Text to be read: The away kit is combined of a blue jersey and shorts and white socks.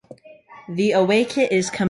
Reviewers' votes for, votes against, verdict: 0, 2, rejected